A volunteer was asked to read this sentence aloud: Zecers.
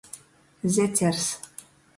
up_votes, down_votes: 2, 0